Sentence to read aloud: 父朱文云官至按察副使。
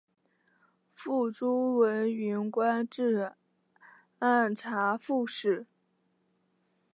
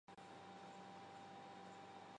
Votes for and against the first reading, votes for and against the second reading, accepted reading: 9, 0, 1, 2, first